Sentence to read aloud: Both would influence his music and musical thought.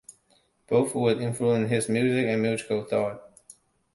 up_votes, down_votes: 2, 1